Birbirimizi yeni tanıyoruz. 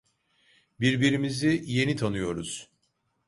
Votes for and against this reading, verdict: 2, 0, accepted